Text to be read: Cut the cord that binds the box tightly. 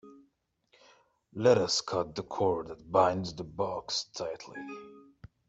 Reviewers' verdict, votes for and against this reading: rejected, 0, 2